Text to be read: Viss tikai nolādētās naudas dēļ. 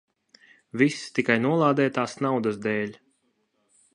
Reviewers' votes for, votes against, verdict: 2, 0, accepted